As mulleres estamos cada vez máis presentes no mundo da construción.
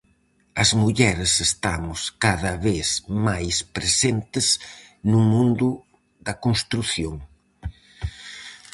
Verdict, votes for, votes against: accepted, 4, 0